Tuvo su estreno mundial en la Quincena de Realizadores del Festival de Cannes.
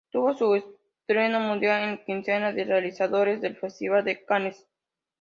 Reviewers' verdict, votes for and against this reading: rejected, 0, 2